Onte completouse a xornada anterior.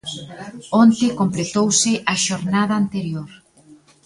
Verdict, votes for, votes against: rejected, 1, 2